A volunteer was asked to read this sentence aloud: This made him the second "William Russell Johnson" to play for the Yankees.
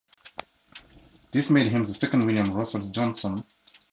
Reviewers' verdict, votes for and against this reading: rejected, 0, 2